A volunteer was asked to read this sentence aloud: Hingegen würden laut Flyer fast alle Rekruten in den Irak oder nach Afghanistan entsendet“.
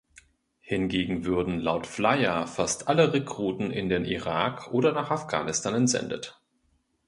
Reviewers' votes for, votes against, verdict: 2, 0, accepted